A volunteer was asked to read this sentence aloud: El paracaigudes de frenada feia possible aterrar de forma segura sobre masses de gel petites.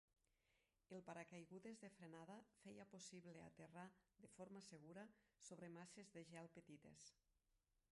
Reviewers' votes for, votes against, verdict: 0, 2, rejected